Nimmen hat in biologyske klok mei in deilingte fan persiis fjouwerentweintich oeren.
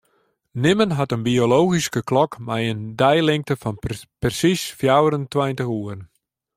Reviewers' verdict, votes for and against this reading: rejected, 1, 2